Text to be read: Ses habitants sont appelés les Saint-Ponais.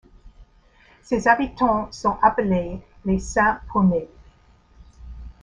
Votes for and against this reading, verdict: 1, 2, rejected